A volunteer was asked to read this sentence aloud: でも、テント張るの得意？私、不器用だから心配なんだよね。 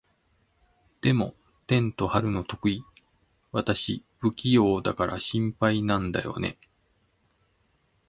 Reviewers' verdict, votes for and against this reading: accepted, 2, 0